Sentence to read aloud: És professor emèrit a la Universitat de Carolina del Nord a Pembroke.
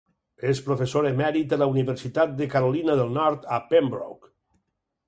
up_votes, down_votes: 0, 4